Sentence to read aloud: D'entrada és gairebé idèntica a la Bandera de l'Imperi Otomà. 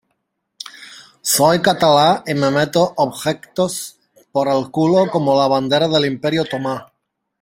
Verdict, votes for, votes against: rejected, 0, 2